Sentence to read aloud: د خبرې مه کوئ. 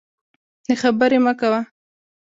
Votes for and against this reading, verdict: 1, 2, rejected